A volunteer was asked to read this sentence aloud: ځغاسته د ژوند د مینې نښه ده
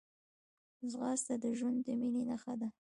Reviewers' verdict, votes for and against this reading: rejected, 1, 2